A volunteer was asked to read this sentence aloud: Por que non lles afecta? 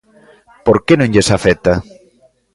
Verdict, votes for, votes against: accepted, 2, 0